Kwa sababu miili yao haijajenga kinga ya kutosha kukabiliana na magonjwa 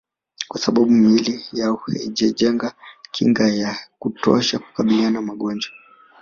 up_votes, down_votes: 0, 2